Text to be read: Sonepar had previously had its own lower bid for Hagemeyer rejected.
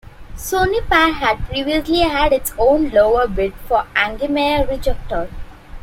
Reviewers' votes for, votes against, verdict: 0, 2, rejected